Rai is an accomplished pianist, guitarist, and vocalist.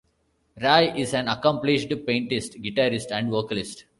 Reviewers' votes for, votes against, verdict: 0, 2, rejected